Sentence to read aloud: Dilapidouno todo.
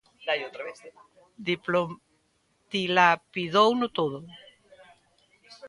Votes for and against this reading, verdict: 0, 3, rejected